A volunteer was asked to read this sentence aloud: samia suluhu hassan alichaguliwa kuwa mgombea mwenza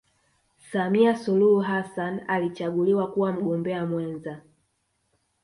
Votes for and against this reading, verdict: 1, 2, rejected